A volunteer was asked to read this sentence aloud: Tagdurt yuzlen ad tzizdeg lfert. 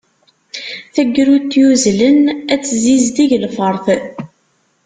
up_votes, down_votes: 1, 2